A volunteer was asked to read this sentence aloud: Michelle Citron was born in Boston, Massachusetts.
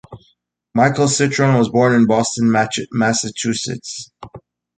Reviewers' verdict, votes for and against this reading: rejected, 0, 2